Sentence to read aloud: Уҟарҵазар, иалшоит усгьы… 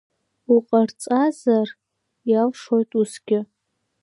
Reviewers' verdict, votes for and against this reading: accepted, 2, 1